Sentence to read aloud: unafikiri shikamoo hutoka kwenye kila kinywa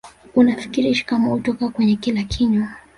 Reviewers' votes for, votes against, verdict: 0, 2, rejected